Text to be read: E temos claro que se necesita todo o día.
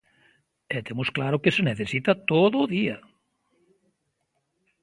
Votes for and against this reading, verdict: 2, 0, accepted